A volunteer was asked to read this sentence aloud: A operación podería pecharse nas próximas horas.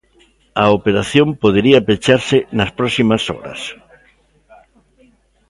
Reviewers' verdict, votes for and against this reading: accepted, 3, 0